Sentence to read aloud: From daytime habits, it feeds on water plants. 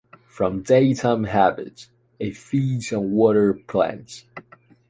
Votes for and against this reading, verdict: 2, 0, accepted